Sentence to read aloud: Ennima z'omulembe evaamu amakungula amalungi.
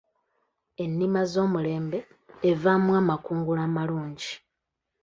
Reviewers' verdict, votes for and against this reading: accepted, 2, 1